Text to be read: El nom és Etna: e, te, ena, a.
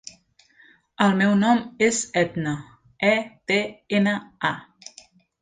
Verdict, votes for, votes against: rejected, 0, 2